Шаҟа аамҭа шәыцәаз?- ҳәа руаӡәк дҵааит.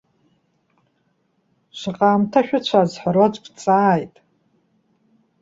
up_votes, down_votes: 0, 2